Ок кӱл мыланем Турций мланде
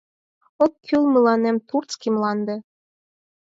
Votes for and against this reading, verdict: 4, 2, accepted